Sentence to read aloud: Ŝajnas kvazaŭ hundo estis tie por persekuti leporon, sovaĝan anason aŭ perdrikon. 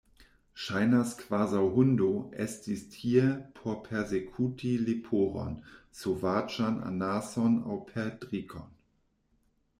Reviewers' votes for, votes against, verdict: 2, 1, accepted